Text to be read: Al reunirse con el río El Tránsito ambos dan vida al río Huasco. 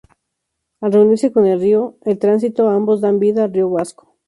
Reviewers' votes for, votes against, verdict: 2, 0, accepted